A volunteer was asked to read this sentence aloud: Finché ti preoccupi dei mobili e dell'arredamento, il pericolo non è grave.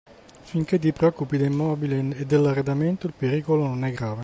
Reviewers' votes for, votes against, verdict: 2, 0, accepted